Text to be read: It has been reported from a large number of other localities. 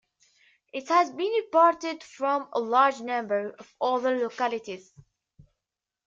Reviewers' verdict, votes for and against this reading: accepted, 2, 0